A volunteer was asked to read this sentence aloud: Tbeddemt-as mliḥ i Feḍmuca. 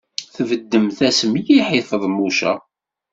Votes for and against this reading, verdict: 2, 0, accepted